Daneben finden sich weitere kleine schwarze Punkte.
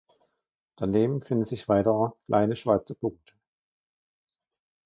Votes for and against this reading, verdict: 1, 2, rejected